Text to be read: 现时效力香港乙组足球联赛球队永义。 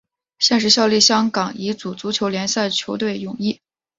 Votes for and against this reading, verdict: 5, 0, accepted